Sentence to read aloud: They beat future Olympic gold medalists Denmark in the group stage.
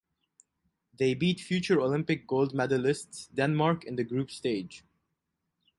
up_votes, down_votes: 4, 0